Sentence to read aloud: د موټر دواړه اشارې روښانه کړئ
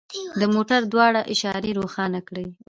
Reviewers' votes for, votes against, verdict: 2, 0, accepted